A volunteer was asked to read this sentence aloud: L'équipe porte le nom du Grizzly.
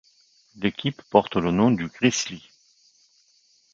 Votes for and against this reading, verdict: 3, 1, accepted